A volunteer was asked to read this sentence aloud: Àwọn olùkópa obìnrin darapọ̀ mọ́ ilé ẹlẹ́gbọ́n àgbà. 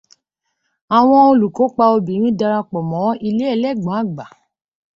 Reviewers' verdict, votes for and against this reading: accepted, 2, 0